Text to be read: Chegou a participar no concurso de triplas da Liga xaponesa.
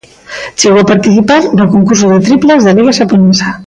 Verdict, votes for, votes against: accepted, 2, 1